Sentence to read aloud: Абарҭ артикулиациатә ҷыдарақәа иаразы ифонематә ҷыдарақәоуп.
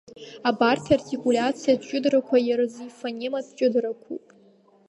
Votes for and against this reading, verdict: 2, 0, accepted